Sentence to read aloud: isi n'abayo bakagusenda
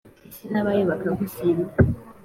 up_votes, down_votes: 2, 0